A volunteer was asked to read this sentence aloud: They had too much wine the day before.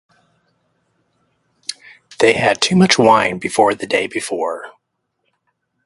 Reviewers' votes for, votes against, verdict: 2, 2, rejected